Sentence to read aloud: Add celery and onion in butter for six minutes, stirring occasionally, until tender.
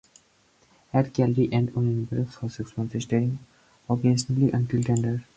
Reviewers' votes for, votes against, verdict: 0, 4, rejected